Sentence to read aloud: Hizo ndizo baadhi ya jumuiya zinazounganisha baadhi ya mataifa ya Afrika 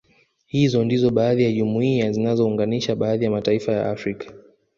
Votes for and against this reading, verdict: 0, 2, rejected